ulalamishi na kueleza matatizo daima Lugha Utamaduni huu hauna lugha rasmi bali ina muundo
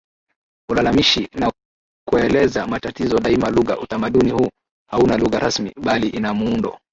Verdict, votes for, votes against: accepted, 2, 0